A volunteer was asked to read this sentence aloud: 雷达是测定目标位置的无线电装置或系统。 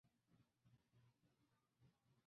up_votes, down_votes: 0, 2